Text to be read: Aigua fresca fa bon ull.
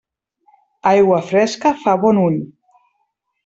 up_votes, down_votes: 3, 0